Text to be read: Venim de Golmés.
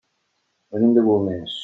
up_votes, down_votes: 2, 0